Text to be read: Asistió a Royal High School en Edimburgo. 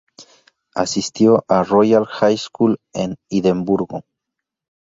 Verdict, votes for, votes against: accepted, 2, 0